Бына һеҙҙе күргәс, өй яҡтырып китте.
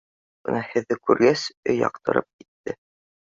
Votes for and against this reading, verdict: 2, 0, accepted